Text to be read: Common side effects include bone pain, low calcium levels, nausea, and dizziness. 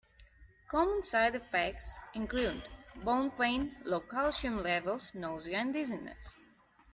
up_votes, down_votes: 0, 2